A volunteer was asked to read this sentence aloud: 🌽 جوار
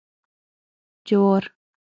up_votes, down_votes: 3, 6